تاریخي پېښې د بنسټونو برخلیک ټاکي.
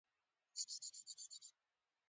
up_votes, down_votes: 2, 1